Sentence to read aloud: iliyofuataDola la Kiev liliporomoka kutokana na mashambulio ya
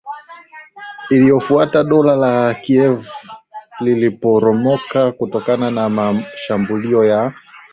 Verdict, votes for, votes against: accepted, 4, 0